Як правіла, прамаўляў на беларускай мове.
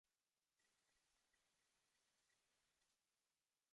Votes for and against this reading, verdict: 0, 2, rejected